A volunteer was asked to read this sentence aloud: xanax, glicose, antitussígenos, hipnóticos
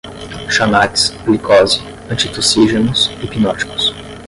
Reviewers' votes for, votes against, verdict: 5, 5, rejected